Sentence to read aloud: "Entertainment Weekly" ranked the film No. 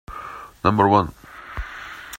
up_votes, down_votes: 0, 2